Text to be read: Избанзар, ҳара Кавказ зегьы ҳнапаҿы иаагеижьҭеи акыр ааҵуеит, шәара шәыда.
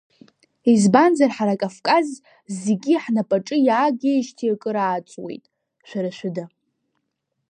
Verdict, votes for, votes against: accepted, 2, 0